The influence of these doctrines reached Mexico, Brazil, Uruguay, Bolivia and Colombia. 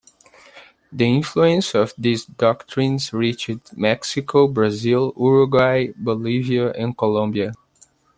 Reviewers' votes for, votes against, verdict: 2, 0, accepted